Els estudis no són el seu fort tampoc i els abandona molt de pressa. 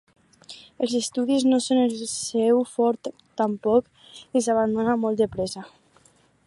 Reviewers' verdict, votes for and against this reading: accepted, 2, 0